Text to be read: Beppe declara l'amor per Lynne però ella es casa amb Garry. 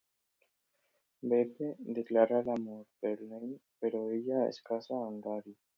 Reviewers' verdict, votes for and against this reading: accepted, 2, 1